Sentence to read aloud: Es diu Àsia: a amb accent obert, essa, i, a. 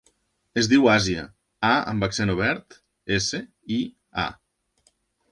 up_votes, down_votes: 0, 2